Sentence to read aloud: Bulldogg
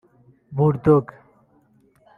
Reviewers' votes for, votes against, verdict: 1, 2, rejected